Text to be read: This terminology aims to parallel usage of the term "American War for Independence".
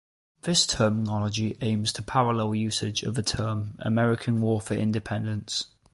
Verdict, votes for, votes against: accepted, 2, 0